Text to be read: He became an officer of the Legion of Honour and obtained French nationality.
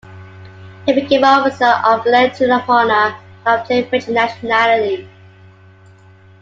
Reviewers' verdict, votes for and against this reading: rejected, 0, 2